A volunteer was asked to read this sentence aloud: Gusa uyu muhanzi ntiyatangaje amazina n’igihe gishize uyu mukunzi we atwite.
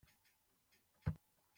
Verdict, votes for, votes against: rejected, 0, 2